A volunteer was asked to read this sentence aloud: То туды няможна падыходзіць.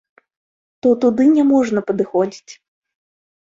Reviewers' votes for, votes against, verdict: 2, 1, accepted